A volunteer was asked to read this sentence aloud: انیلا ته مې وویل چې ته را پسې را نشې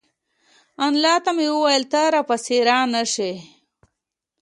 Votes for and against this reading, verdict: 2, 0, accepted